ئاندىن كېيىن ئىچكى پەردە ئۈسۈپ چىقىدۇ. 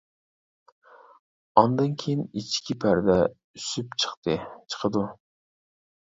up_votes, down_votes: 0, 2